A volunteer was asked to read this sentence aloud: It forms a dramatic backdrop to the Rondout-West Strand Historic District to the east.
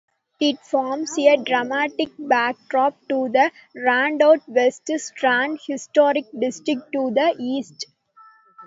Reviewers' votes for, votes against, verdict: 0, 2, rejected